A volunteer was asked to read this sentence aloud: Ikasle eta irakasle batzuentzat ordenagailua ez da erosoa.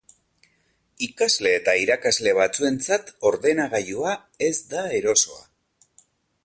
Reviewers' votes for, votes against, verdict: 2, 0, accepted